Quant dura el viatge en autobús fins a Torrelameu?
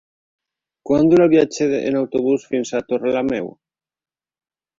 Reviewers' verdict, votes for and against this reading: accepted, 4, 2